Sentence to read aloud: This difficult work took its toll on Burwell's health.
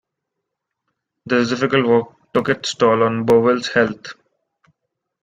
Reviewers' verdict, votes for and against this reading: rejected, 1, 3